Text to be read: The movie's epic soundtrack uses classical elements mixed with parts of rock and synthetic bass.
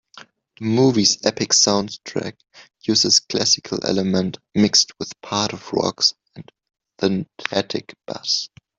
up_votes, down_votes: 0, 2